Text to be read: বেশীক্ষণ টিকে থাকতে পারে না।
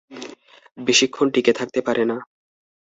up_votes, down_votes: 2, 0